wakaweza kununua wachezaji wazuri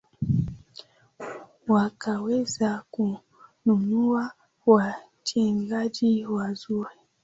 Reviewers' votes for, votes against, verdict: 5, 0, accepted